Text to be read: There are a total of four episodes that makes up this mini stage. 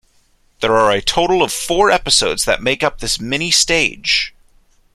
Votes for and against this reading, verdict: 1, 2, rejected